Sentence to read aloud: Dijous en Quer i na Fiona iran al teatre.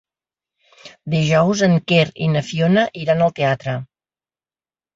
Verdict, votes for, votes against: accepted, 3, 0